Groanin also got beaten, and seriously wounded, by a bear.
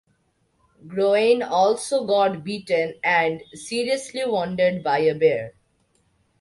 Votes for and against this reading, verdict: 2, 0, accepted